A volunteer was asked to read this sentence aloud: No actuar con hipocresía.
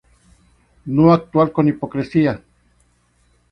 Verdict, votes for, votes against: accepted, 2, 0